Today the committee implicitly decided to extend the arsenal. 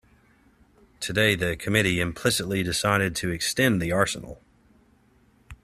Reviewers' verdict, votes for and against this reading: accepted, 2, 0